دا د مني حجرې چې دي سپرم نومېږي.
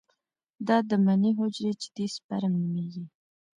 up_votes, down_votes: 0, 2